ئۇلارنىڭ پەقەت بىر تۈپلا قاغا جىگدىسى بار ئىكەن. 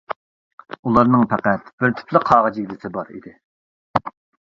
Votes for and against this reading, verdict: 1, 2, rejected